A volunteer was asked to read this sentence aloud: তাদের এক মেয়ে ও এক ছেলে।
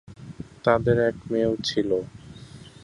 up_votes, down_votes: 1, 5